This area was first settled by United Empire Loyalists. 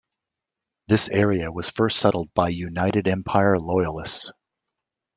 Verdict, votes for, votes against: accepted, 2, 0